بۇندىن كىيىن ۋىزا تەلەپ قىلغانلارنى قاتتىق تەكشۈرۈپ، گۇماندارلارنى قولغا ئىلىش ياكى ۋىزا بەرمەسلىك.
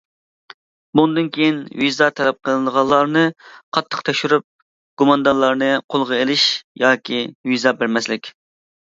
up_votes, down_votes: 0, 2